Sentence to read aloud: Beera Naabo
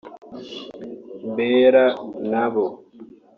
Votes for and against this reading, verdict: 1, 2, rejected